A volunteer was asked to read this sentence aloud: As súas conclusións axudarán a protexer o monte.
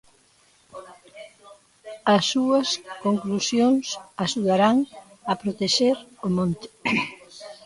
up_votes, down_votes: 1, 2